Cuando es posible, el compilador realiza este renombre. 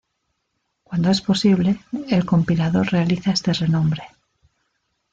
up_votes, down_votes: 2, 0